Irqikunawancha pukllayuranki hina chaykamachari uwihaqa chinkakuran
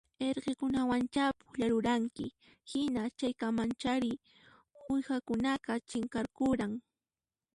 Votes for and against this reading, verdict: 1, 2, rejected